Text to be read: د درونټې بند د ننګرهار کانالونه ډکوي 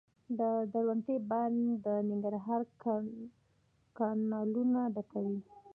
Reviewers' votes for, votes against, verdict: 0, 2, rejected